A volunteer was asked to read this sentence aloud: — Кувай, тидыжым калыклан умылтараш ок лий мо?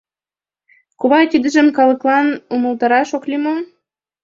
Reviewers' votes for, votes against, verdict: 2, 0, accepted